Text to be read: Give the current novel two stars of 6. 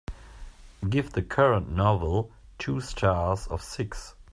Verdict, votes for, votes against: rejected, 0, 2